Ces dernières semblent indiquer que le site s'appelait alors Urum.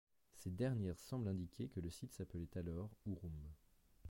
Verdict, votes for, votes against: rejected, 1, 2